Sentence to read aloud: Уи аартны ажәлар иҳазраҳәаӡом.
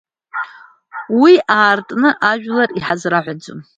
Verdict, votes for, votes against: rejected, 1, 2